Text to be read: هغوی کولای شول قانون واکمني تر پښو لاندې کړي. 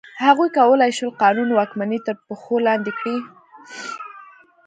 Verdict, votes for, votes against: accepted, 2, 0